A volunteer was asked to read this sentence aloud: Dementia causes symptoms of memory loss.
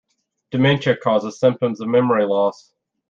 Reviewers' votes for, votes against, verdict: 2, 0, accepted